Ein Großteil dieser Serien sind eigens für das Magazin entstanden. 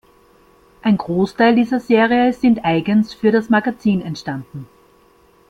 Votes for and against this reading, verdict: 2, 1, accepted